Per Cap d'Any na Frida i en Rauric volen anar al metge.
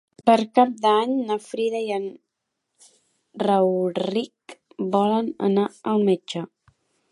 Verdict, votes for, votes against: rejected, 1, 2